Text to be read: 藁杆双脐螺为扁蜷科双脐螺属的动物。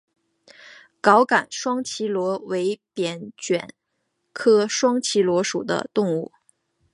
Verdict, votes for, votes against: accepted, 4, 1